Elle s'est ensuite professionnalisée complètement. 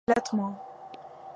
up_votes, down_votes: 0, 2